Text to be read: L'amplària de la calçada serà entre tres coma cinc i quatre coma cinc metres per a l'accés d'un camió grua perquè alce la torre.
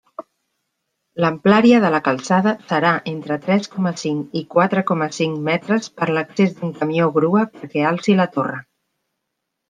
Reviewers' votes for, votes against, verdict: 1, 2, rejected